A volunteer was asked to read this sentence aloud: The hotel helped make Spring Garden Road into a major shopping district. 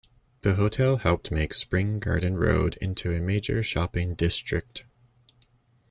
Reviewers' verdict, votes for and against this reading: accepted, 2, 1